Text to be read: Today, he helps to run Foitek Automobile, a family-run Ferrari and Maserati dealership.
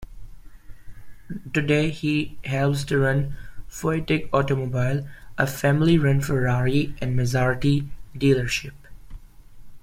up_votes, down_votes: 1, 2